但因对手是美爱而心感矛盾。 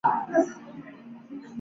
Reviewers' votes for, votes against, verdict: 4, 2, accepted